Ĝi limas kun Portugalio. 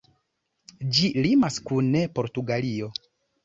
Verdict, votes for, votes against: rejected, 1, 2